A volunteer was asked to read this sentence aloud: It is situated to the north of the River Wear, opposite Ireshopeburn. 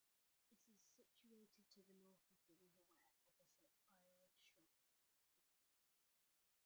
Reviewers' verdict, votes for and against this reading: rejected, 0, 2